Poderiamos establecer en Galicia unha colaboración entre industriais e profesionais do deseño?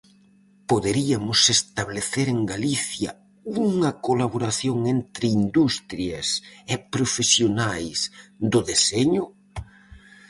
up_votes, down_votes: 0, 4